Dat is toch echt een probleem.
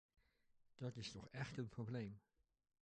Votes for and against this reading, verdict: 1, 2, rejected